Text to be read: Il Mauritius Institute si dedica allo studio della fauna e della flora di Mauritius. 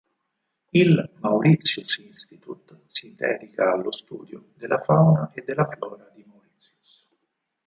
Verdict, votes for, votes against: rejected, 2, 4